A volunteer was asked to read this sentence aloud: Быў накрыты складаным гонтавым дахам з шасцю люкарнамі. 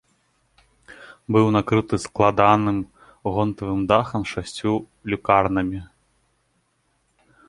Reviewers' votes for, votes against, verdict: 2, 0, accepted